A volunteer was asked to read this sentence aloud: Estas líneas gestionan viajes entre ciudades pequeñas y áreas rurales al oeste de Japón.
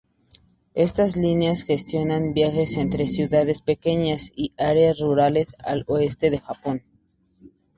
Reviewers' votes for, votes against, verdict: 2, 0, accepted